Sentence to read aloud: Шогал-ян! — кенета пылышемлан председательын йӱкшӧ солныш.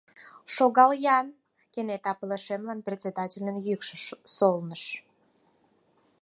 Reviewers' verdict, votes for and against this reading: accepted, 4, 2